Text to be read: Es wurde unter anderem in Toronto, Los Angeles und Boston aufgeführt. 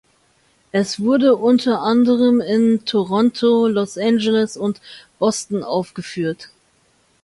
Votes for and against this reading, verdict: 2, 0, accepted